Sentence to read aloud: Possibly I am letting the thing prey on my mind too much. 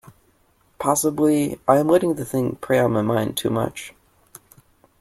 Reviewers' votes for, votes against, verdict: 2, 0, accepted